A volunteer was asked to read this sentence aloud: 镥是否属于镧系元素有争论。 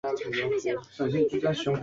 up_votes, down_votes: 0, 3